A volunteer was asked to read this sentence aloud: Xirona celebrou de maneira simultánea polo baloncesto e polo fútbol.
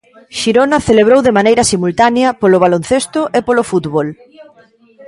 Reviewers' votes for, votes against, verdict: 0, 2, rejected